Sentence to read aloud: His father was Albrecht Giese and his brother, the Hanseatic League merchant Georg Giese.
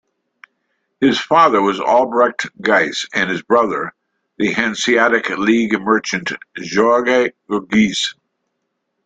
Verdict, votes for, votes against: rejected, 1, 2